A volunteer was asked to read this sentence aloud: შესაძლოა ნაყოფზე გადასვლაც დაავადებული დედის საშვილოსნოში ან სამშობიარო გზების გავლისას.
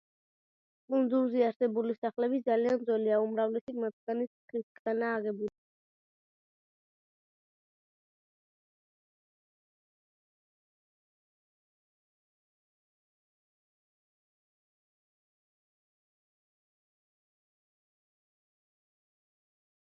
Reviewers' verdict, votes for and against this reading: rejected, 0, 2